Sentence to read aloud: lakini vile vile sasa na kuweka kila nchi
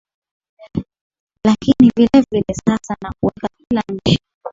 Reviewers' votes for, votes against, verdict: 0, 2, rejected